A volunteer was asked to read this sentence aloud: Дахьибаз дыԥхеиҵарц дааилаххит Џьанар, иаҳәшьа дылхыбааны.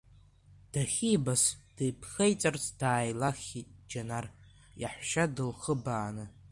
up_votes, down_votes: 1, 2